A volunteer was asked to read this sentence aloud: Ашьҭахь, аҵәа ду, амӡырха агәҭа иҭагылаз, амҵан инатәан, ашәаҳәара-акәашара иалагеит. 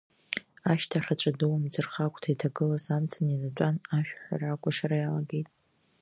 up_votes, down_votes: 2, 1